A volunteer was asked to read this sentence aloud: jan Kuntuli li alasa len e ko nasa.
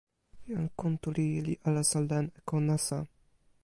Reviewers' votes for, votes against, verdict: 1, 2, rejected